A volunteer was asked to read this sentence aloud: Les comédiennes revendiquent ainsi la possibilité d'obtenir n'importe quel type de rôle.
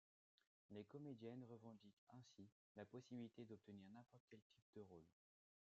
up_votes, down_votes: 2, 1